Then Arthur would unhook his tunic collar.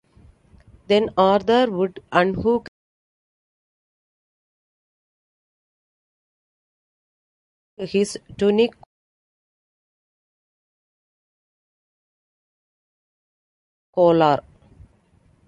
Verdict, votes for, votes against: rejected, 0, 2